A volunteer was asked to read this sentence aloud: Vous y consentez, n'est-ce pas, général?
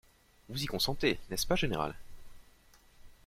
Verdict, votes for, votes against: accepted, 2, 0